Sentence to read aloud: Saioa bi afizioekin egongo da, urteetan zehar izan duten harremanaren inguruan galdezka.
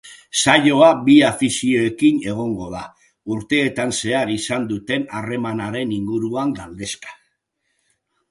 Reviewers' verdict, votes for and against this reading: accepted, 2, 0